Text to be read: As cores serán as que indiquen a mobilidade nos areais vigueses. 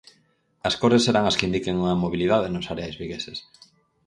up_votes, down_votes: 4, 0